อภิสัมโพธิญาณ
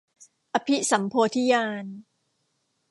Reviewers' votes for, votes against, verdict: 2, 0, accepted